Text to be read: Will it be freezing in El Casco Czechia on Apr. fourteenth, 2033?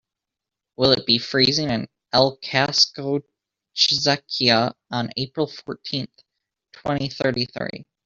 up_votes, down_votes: 0, 2